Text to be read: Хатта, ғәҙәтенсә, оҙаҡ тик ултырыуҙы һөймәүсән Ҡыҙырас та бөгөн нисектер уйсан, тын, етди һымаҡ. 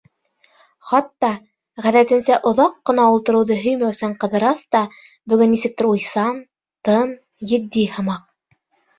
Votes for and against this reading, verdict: 2, 4, rejected